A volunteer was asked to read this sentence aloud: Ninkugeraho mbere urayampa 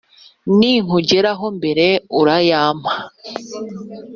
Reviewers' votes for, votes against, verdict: 4, 0, accepted